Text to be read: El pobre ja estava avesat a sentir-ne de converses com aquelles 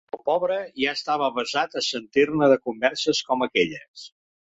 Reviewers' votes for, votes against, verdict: 3, 0, accepted